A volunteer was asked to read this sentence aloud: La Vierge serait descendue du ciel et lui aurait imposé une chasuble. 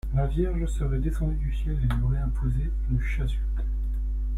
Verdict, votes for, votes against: accepted, 2, 0